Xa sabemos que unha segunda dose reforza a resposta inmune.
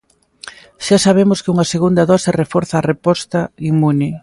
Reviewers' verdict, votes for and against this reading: rejected, 0, 2